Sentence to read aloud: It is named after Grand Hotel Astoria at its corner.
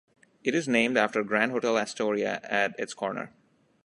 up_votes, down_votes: 2, 0